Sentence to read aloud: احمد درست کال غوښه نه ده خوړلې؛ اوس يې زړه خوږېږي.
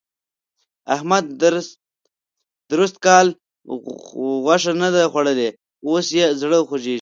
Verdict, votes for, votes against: rejected, 1, 2